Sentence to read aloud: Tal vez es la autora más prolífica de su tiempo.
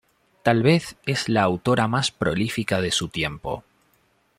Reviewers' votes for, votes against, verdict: 2, 0, accepted